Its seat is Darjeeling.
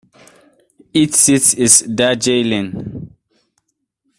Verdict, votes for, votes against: rejected, 0, 2